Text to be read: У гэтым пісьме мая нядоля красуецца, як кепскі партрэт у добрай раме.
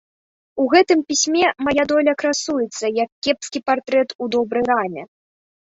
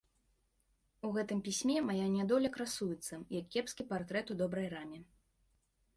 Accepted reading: second